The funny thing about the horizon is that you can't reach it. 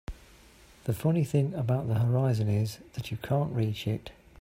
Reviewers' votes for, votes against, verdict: 3, 0, accepted